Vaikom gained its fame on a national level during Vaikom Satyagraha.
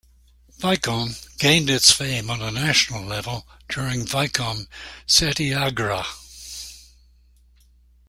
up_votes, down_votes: 1, 2